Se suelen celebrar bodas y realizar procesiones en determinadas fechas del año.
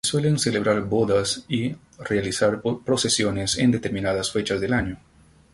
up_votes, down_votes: 0, 2